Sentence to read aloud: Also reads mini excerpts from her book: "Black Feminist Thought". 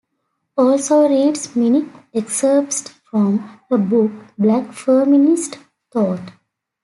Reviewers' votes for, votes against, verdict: 1, 2, rejected